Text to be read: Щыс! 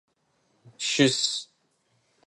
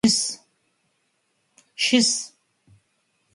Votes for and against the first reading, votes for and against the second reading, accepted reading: 2, 0, 2, 4, first